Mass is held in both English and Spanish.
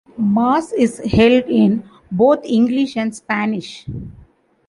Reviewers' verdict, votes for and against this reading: accepted, 2, 0